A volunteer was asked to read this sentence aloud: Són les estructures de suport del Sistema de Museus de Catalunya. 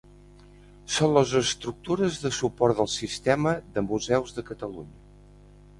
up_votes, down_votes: 2, 0